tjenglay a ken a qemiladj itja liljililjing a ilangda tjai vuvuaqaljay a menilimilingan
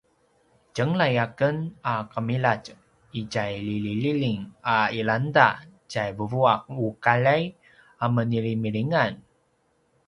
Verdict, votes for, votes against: accepted, 2, 0